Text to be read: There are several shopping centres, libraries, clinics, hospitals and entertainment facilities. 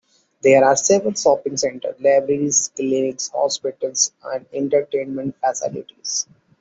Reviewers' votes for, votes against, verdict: 2, 1, accepted